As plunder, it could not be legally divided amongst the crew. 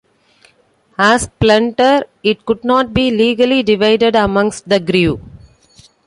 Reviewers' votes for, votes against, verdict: 0, 2, rejected